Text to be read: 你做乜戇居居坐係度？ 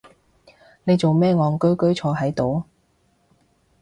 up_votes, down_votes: 0, 2